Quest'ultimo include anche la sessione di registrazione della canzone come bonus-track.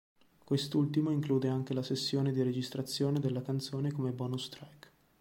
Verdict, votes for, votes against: accepted, 2, 0